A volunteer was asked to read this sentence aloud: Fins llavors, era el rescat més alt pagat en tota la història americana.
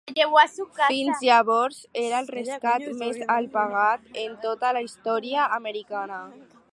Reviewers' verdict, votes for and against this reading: rejected, 2, 4